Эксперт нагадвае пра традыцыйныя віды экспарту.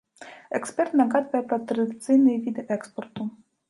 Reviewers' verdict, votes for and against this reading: accepted, 2, 0